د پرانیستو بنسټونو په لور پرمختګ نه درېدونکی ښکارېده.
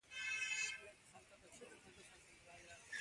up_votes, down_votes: 0, 2